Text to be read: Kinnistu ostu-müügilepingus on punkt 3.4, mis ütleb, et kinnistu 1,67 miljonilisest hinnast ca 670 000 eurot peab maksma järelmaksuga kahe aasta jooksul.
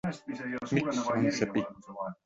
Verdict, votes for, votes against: rejected, 0, 2